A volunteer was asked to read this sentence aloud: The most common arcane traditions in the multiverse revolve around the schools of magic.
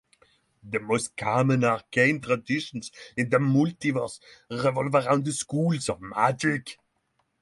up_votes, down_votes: 3, 0